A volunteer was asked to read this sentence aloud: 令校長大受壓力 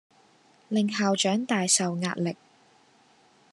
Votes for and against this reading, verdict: 2, 0, accepted